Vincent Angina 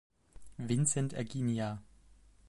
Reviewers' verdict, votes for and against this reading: rejected, 1, 2